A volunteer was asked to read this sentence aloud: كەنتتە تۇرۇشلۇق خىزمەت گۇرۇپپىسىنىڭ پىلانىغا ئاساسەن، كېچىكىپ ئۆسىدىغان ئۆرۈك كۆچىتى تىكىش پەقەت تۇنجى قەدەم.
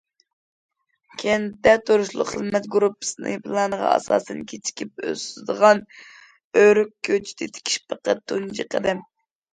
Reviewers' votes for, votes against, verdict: 2, 0, accepted